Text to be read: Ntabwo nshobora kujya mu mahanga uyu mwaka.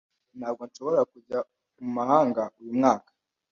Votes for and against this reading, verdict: 2, 0, accepted